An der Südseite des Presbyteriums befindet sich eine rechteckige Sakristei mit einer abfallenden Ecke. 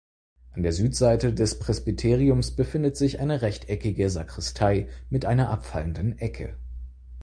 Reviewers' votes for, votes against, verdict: 4, 0, accepted